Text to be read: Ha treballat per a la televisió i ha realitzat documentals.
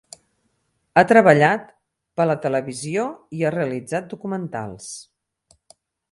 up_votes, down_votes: 2, 4